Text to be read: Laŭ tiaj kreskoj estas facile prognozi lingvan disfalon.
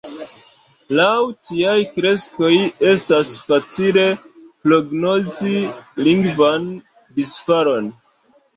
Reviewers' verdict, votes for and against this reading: rejected, 1, 2